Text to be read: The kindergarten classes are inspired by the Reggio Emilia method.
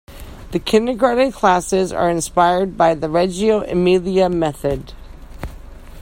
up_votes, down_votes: 2, 0